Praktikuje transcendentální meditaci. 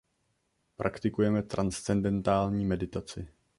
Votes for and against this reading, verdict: 0, 2, rejected